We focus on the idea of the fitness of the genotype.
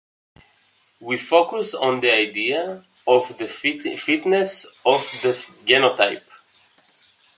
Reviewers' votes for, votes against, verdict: 0, 2, rejected